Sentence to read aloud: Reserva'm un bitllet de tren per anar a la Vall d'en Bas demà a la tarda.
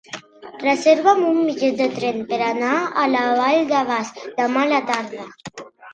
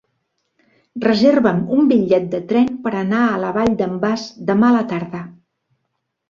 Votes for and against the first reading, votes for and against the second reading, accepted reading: 1, 2, 4, 0, second